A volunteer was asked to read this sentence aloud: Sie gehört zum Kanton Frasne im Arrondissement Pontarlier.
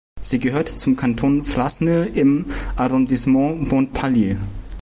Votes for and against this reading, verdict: 0, 2, rejected